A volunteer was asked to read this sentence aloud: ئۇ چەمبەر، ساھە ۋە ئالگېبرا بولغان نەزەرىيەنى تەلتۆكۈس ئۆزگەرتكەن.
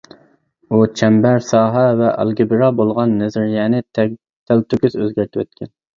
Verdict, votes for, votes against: rejected, 0, 2